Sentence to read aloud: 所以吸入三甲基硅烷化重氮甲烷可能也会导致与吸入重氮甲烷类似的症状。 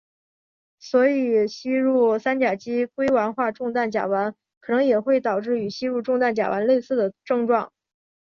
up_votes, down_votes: 2, 0